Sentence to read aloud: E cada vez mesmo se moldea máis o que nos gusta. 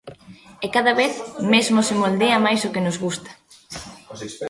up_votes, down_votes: 2, 0